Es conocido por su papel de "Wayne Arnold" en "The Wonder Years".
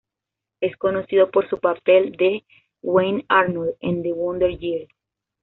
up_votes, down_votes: 2, 0